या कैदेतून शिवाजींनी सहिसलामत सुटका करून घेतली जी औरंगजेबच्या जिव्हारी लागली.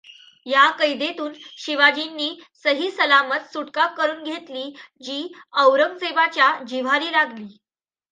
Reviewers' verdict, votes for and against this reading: accepted, 2, 0